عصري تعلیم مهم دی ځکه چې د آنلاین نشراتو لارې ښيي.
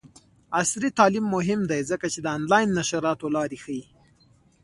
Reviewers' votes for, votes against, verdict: 1, 2, rejected